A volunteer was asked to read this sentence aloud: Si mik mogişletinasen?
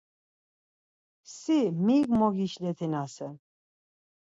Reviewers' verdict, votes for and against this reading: accepted, 4, 0